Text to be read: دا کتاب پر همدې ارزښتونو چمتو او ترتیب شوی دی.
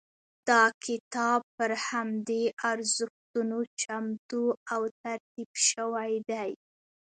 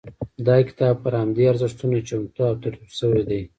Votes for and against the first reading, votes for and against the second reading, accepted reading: 2, 0, 1, 2, first